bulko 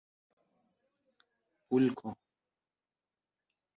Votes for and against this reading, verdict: 2, 0, accepted